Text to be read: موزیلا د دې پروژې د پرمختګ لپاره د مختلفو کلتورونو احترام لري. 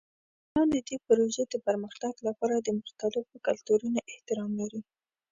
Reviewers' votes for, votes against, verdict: 0, 2, rejected